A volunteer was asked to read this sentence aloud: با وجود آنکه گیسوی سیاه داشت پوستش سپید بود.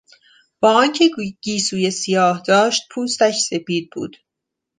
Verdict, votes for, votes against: rejected, 1, 2